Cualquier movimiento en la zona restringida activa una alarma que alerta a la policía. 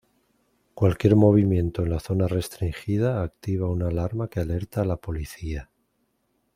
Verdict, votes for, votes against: accepted, 2, 0